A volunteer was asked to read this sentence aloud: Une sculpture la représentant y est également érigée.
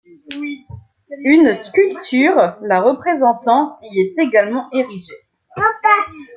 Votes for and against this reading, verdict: 2, 0, accepted